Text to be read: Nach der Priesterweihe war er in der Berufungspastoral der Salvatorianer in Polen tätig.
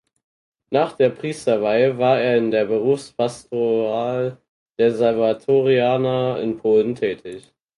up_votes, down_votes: 2, 4